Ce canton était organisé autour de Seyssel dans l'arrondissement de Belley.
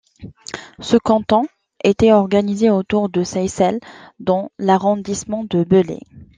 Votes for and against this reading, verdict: 2, 1, accepted